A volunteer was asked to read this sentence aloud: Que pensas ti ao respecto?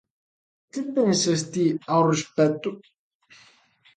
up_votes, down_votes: 2, 0